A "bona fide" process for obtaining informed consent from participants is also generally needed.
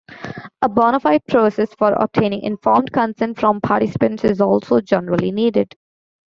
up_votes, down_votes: 2, 1